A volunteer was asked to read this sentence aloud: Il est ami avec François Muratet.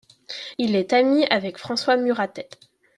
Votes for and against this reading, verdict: 2, 0, accepted